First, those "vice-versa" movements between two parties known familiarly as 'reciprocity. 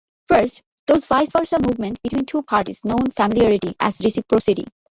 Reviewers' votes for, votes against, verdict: 0, 2, rejected